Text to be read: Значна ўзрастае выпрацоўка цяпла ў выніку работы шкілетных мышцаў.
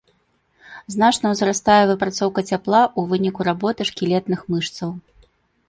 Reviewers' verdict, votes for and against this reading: accepted, 2, 0